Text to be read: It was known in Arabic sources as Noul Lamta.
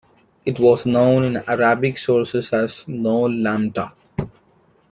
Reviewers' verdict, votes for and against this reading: accepted, 2, 0